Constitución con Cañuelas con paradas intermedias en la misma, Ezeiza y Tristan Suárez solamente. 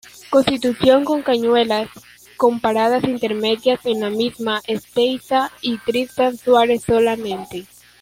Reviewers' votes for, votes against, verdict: 0, 2, rejected